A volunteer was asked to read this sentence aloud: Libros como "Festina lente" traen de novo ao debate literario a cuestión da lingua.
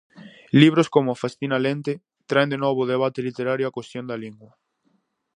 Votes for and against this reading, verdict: 4, 0, accepted